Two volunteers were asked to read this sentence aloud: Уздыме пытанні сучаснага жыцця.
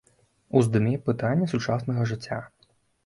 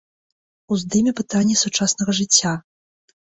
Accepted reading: second